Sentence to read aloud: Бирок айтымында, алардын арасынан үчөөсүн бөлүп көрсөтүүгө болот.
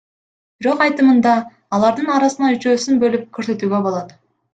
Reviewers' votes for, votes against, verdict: 1, 2, rejected